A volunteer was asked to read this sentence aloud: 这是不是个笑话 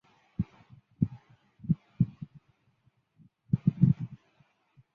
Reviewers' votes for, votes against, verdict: 2, 5, rejected